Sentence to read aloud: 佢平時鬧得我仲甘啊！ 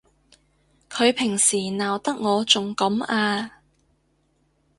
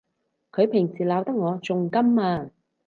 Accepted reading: second